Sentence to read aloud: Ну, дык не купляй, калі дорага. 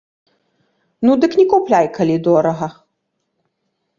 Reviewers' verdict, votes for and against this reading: accepted, 2, 0